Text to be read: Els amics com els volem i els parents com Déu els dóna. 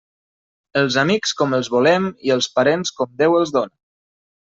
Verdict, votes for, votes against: accepted, 3, 0